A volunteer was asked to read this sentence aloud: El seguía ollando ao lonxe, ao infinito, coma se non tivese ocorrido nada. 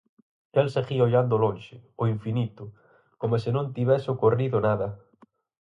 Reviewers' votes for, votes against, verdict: 2, 2, rejected